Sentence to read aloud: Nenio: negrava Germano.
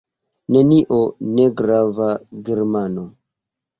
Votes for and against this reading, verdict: 2, 0, accepted